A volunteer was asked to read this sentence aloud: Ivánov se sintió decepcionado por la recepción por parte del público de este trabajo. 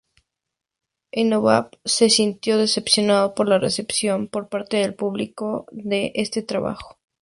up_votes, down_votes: 0, 2